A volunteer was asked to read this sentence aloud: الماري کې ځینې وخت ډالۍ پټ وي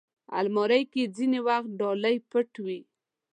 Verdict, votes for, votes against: rejected, 1, 2